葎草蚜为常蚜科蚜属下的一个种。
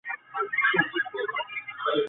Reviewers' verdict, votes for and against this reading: rejected, 0, 2